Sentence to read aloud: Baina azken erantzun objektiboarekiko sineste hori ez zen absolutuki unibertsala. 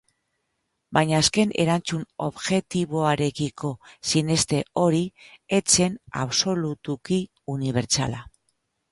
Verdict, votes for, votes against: rejected, 2, 2